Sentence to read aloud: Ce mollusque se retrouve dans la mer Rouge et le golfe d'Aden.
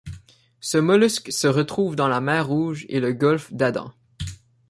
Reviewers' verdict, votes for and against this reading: rejected, 0, 2